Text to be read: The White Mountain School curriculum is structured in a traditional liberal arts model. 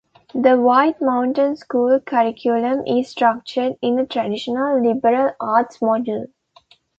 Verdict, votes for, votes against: rejected, 0, 2